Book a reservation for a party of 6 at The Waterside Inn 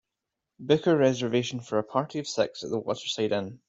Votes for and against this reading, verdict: 0, 2, rejected